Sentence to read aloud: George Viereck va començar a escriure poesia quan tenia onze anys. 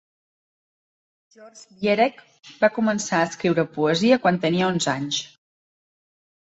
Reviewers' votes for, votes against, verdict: 0, 2, rejected